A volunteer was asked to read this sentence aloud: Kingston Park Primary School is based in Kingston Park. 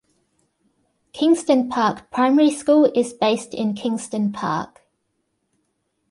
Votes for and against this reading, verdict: 2, 0, accepted